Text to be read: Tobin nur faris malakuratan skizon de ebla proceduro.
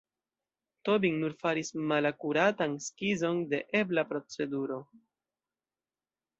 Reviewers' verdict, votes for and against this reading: accepted, 2, 1